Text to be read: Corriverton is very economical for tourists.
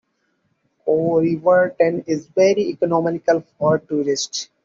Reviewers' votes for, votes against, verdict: 2, 0, accepted